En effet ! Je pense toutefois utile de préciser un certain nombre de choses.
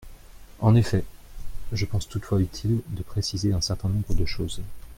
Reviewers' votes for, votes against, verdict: 2, 0, accepted